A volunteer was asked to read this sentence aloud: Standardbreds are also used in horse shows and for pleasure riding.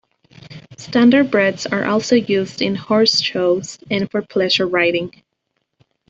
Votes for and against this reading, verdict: 2, 0, accepted